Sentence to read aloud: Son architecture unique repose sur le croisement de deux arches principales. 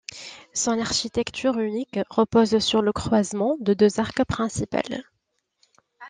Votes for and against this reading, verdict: 1, 2, rejected